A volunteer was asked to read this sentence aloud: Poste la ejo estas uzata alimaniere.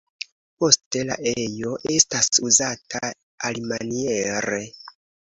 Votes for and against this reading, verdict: 2, 0, accepted